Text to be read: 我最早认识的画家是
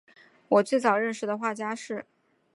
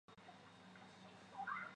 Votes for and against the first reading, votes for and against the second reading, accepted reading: 3, 1, 0, 3, first